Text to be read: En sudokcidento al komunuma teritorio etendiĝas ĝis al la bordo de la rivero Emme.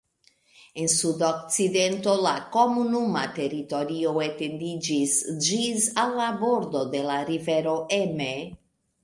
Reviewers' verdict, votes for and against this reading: accepted, 2, 0